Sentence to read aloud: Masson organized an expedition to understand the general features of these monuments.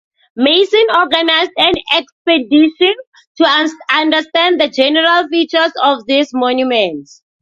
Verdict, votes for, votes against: rejected, 0, 2